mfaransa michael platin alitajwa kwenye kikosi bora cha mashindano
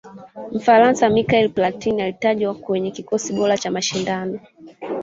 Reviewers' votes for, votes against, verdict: 1, 2, rejected